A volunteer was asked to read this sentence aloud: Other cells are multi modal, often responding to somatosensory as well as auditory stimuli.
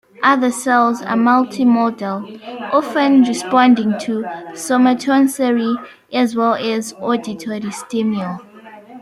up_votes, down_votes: 0, 2